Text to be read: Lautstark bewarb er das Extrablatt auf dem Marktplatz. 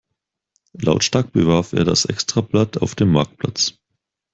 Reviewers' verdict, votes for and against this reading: accepted, 4, 0